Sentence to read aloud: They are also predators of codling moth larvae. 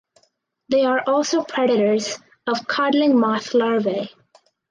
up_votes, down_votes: 4, 0